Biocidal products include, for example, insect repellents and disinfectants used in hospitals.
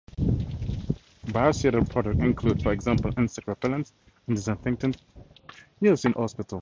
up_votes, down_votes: 0, 4